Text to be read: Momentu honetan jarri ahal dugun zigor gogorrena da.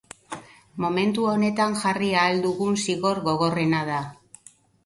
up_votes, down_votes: 2, 0